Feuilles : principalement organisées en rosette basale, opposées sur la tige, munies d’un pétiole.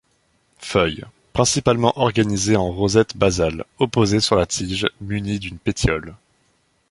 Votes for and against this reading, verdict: 1, 2, rejected